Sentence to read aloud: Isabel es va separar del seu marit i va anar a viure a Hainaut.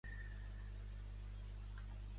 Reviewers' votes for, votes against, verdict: 0, 2, rejected